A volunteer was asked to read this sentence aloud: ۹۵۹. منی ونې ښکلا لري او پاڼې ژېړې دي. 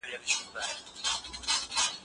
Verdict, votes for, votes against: rejected, 0, 2